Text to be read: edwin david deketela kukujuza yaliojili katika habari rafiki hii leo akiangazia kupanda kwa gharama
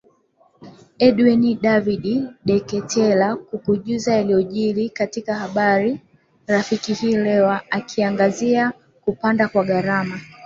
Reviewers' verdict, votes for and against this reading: rejected, 2, 3